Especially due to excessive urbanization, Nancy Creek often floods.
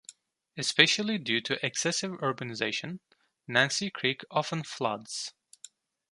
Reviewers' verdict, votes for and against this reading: accepted, 2, 0